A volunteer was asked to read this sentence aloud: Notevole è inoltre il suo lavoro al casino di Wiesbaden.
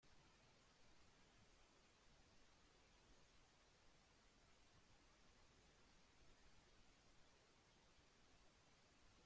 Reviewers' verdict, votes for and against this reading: rejected, 0, 2